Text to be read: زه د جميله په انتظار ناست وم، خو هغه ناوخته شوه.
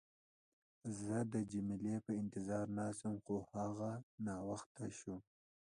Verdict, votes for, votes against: accepted, 2, 0